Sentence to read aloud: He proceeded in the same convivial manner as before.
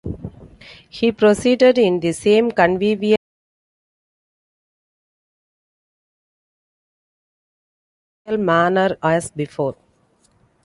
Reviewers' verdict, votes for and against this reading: rejected, 0, 2